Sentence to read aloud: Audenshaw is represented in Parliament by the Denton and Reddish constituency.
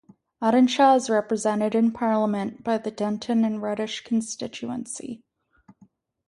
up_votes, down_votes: 2, 0